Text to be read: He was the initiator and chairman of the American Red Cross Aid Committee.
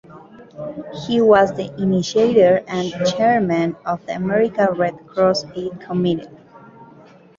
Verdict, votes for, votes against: accepted, 2, 0